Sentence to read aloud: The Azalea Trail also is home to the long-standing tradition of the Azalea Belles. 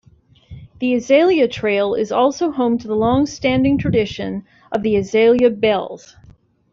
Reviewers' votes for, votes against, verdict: 1, 2, rejected